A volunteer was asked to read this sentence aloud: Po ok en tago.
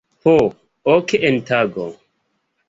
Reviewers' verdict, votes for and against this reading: accepted, 2, 0